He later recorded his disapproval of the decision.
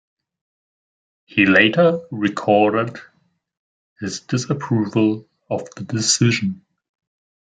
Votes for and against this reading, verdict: 2, 1, accepted